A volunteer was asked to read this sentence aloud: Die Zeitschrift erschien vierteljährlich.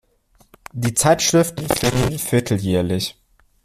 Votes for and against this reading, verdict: 0, 2, rejected